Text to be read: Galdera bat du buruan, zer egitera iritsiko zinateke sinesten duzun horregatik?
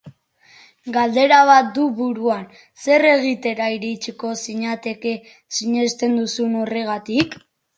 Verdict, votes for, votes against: accepted, 2, 1